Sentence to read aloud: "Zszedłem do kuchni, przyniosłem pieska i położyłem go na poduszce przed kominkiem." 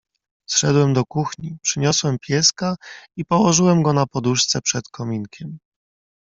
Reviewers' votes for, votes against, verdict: 2, 0, accepted